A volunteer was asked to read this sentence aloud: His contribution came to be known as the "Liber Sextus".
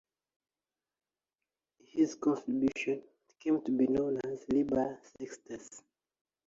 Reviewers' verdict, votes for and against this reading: accepted, 2, 0